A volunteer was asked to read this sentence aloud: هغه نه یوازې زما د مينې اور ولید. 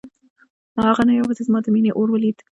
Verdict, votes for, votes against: rejected, 0, 2